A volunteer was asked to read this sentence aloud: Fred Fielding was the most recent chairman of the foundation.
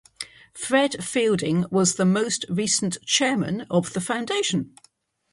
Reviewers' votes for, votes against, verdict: 0, 3, rejected